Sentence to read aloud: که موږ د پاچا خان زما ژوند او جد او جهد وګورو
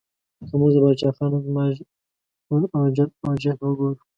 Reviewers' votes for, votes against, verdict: 2, 0, accepted